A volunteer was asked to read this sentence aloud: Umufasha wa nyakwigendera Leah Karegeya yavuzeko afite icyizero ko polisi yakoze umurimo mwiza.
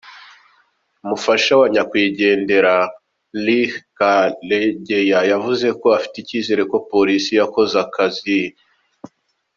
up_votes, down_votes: 2, 0